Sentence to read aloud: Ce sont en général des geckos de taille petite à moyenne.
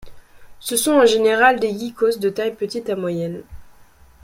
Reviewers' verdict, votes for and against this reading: rejected, 1, 2